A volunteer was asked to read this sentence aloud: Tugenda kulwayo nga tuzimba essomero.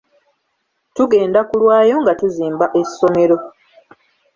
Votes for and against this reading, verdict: 2, 0, accepted